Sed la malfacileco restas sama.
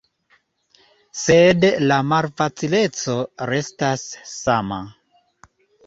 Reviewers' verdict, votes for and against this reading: accepted, 2, 0